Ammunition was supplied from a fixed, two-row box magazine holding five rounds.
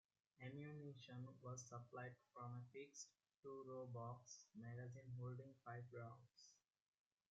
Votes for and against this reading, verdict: 0, 2, rejected